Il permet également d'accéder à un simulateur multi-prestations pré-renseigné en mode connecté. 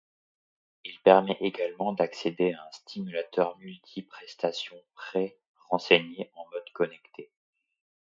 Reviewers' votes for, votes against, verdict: 0, 2, rejected